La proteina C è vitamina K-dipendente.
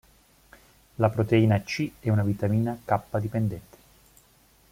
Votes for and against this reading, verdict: 0, 2, rejected